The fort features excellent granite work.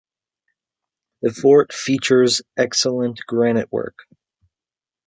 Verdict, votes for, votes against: accepted, 2, 0